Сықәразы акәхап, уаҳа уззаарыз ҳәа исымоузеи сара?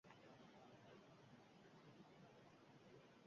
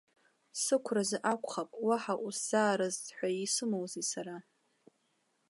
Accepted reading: second